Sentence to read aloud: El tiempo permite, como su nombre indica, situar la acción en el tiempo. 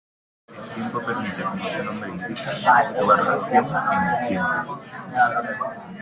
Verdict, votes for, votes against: rejected, 0, 2